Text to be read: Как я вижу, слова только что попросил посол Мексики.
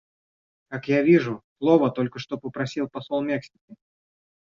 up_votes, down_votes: 1, 2